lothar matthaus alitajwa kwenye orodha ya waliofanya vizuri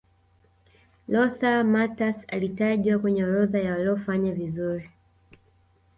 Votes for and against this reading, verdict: 2, 0, accepted